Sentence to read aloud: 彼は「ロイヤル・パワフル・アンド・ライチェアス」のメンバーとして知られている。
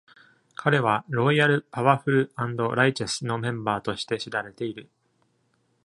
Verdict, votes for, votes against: rejected, 1, 2